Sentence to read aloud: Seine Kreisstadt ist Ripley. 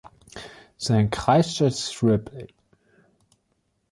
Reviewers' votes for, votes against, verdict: 1, 2, rejected